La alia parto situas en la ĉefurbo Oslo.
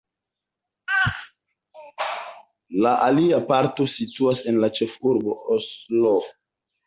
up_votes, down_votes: 0, 3